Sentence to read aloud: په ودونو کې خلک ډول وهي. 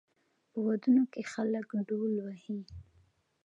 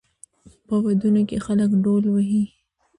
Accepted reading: first